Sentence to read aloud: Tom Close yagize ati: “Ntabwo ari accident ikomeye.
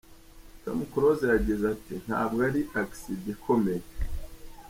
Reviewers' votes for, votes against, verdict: 3, 0, accepted